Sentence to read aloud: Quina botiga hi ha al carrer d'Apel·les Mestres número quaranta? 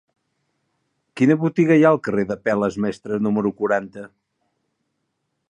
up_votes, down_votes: 2, 0